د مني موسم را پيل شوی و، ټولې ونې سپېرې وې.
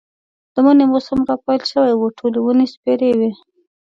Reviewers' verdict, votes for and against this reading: accepted, 2, 0